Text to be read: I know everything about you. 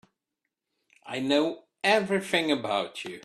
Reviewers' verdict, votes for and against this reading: accepted, 2, 0